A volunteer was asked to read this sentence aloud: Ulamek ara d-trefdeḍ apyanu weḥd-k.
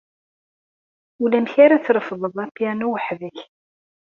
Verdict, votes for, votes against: accepted, 2, 1